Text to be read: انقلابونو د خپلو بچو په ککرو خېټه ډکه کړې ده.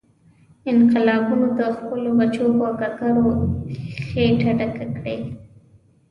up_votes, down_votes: 1, 2